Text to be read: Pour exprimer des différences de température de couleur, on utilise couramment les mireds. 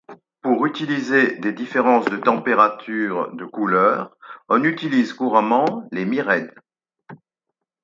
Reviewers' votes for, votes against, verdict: 0, 4, rejected